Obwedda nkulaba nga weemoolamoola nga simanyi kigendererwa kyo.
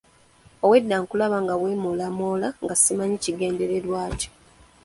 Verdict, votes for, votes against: accepted, 3, 0